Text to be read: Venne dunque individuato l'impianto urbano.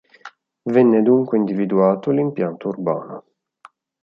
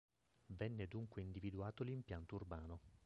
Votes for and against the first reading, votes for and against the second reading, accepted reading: 2, 0, 1, 2, first